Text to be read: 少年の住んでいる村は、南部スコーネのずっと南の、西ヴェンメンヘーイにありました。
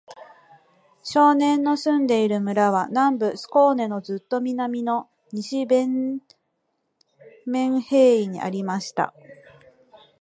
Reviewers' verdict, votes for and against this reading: rejected, 1, 4